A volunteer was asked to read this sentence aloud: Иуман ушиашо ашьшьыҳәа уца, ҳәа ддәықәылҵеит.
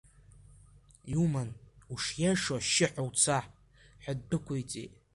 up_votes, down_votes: 2, 1